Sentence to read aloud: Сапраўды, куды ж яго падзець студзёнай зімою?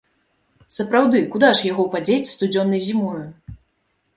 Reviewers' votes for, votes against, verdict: 0, 2, rejected